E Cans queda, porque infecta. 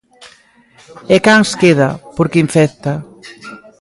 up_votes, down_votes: 0, 2